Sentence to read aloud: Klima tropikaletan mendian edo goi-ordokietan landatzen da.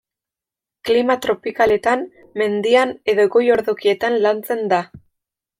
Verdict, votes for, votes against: rejected, 1, 2